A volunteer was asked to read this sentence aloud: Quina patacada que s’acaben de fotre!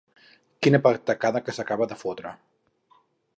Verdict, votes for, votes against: rejected, 2, 2